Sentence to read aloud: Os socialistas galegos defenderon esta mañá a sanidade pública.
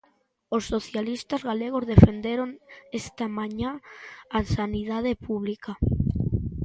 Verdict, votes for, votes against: accepted, 2, 0